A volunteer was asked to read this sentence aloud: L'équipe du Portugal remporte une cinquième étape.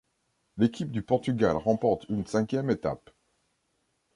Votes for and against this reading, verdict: 3, 1, accepted